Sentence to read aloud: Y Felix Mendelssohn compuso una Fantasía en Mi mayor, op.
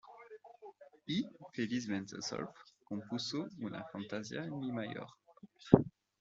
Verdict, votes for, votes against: rejected, 1, 2